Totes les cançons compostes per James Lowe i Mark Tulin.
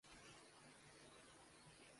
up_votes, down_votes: 0, 2